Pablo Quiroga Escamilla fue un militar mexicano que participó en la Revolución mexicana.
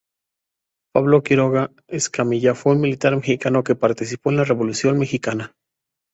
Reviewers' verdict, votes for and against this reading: accepted, 2, 0